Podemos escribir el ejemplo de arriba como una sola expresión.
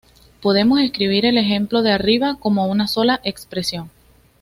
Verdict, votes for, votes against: accepted, 2, 0